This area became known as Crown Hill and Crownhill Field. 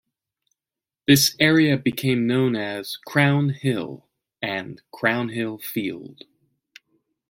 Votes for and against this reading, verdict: 2, 0, accepted